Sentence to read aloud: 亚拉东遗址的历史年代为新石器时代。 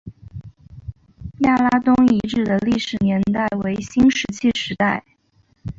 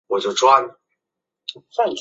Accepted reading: first